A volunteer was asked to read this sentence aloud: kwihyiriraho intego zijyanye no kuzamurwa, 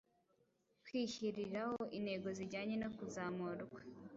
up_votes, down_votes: 2, 1